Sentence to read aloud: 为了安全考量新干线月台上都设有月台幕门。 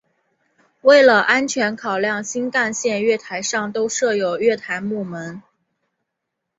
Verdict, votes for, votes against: rejected, 1, 2